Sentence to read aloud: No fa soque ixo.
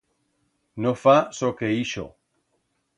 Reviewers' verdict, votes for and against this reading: accepted, 2, 0